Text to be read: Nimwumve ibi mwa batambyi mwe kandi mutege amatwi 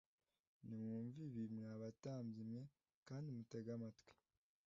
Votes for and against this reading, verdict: 2, 0, accepted